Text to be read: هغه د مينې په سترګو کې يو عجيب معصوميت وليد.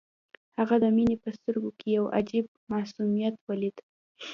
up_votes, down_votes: 2, 0